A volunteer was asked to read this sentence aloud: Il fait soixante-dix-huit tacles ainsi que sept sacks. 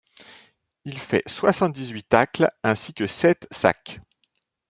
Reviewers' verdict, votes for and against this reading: accepted, 2, 0